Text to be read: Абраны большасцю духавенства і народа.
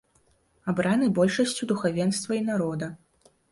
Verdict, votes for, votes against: accepted, 2, 0